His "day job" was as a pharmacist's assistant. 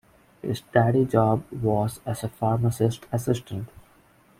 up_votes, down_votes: 1, 2